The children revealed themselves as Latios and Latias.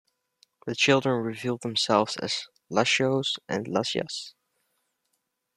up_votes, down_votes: 2, 0